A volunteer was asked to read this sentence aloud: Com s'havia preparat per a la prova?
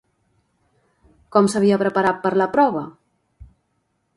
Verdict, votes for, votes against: rejected, 0, 2